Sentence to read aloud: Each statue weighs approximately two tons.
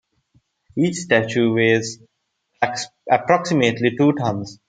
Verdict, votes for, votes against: rejected, 0, 2